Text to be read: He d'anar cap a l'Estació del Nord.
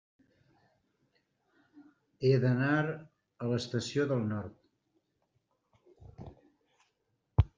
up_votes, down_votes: 0, 2